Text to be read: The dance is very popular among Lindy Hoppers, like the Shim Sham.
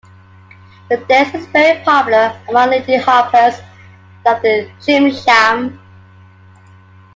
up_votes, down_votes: 2, 1